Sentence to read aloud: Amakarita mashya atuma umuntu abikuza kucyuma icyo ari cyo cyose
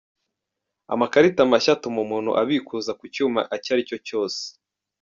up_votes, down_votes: 0, 2